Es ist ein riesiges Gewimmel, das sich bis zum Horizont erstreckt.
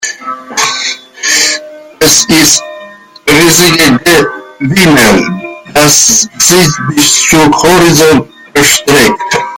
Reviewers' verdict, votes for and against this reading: rejected, 0, 2